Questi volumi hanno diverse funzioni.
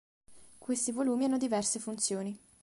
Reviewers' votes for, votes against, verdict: 3, 0, accepted